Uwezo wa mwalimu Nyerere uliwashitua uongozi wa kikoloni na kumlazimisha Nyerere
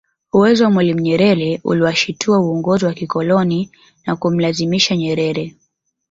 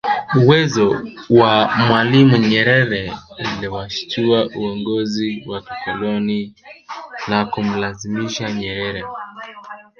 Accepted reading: first